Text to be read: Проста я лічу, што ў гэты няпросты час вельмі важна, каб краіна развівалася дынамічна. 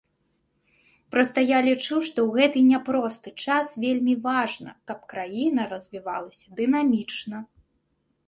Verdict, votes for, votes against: accepted, 3, 0